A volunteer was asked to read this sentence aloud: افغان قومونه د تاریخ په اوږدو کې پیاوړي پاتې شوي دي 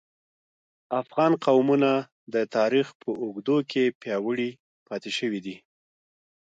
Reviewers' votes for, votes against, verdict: 2, 0, accepted